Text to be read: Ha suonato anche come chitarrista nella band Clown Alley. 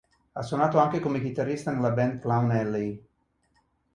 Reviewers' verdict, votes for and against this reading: accepted, 2, 0